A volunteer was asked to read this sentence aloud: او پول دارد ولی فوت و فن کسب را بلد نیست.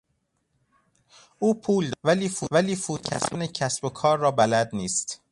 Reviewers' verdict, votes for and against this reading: rejected, 0, 2